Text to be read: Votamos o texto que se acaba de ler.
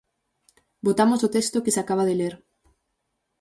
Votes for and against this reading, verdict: 6, 0, accepted